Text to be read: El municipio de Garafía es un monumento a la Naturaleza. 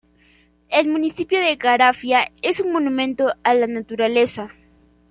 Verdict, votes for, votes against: rejected, 1, 2